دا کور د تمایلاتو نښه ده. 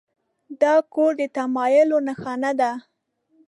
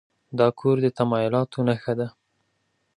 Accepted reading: second